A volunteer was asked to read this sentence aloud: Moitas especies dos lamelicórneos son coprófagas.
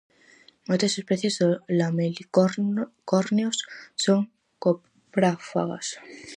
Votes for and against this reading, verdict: 0, 4, rejected